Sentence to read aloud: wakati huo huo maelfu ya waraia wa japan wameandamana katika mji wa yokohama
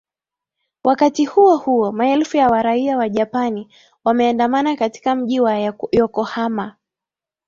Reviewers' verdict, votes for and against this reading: rejected, 0, 2